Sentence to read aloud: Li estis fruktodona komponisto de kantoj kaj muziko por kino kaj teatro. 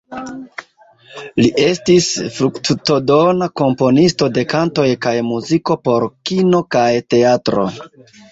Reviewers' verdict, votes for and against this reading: accepted, 2, 1